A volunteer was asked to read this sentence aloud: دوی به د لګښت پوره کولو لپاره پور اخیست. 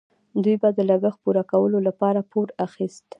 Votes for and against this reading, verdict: 2, 0, accepted